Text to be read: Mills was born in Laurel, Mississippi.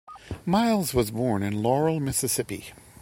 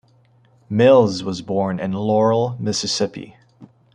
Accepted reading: second